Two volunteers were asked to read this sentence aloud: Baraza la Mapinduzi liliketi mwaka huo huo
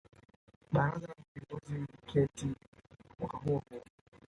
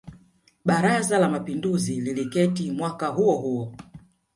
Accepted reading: second